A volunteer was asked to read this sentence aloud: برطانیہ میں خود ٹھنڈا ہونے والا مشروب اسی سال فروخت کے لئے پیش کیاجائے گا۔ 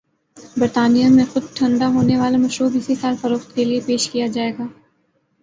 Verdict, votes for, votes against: accepted, 2, 0